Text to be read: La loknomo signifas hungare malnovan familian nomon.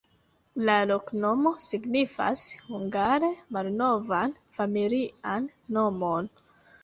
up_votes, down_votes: 1, 2